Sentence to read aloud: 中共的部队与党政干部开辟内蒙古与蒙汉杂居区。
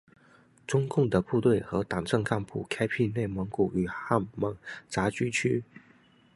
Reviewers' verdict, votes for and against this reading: rejected, 0, 2